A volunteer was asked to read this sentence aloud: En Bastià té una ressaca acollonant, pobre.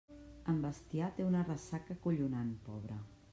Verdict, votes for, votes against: rejected, 1, 2